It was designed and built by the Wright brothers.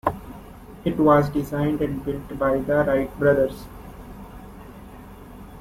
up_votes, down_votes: 1, 2